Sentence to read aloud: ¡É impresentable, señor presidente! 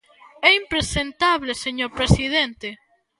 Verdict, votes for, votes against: accepted, 2, 0